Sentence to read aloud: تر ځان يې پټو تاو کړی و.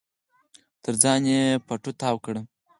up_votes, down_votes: 4, 0